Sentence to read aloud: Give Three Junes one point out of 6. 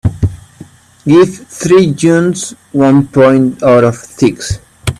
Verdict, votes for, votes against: rejected, 0, 2